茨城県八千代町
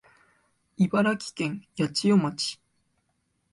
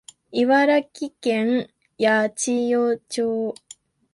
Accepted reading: first